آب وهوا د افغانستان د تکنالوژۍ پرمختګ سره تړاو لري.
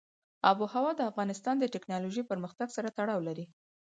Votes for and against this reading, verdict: 4, 0, accepted